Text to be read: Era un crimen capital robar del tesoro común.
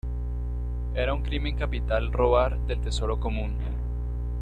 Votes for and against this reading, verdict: 0, 2, rejected